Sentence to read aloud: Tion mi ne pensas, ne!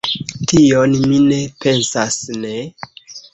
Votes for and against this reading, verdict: 1, 2, rejected